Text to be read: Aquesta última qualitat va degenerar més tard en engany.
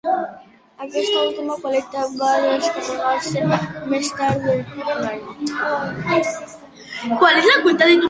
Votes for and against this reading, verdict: 1, 2, rejected